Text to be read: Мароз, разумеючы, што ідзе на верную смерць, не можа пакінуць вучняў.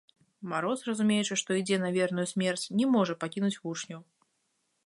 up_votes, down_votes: 1, 2